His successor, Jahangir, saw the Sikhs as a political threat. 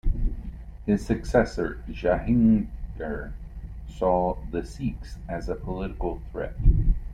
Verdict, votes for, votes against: rejected, 1, 2